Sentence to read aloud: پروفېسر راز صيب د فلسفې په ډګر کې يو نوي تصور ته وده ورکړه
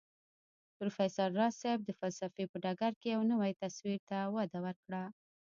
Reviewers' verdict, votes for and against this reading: rejected, 0, 2